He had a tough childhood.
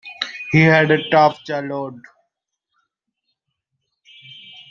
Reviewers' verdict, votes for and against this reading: rejected, 1, 2